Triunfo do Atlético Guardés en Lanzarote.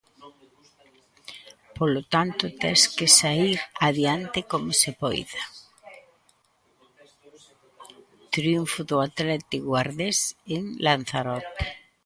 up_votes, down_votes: 0, 2